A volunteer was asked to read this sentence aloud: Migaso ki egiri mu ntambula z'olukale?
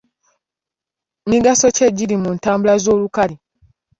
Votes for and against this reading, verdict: 1, 2, rejected